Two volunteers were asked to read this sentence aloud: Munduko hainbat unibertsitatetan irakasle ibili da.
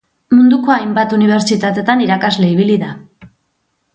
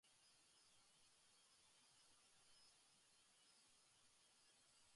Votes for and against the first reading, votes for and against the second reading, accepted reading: 2, 0, 0, 3, first